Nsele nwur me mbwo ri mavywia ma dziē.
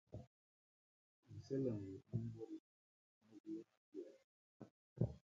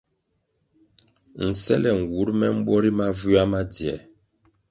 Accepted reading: second